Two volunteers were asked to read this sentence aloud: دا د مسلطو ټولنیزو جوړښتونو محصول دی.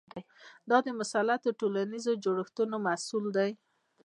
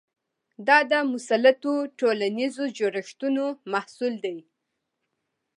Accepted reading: second